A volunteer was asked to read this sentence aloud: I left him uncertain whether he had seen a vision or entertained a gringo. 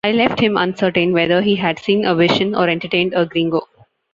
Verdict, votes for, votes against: accepted, 2, 0